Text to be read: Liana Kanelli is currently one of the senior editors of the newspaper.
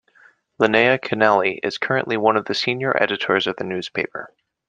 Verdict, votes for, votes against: accepted, 2, 1